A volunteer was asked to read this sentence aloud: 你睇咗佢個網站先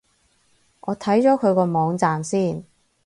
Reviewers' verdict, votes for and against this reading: rejected, 0, 4